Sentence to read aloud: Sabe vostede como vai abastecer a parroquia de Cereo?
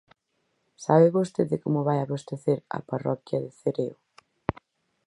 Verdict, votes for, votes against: accepted, 4, 0